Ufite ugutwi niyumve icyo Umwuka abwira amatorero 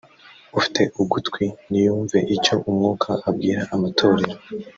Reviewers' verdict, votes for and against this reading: rejected, 1, 2